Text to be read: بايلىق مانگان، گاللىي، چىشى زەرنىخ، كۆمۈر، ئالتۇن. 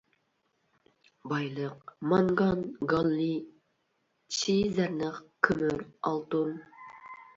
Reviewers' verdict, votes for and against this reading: rejected, 1, 2